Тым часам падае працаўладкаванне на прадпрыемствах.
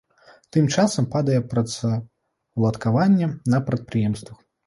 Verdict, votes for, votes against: rejected, 1, 2